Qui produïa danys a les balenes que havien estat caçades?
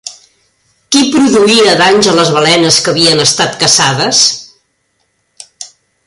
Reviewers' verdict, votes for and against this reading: rejected, 1, 2